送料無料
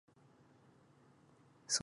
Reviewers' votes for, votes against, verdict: 0, 2, rejected